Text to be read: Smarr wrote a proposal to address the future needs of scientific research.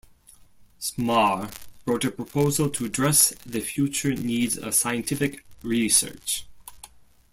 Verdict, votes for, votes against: accepted, 2, 0